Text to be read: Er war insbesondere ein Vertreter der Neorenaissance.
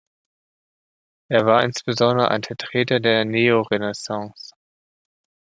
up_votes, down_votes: 0, 2